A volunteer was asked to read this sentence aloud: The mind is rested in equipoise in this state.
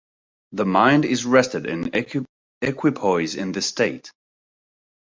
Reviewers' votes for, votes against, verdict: 1, 2, rejected